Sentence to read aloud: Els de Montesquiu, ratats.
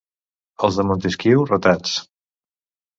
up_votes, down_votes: 2, 0